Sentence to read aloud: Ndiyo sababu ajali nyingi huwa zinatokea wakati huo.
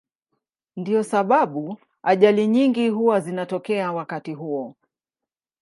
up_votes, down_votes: 2, 0